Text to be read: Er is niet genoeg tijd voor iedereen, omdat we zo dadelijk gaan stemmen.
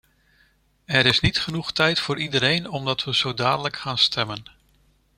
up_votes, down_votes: 2, 0